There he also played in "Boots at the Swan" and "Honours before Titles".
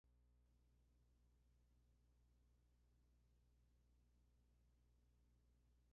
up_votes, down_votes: 0, 2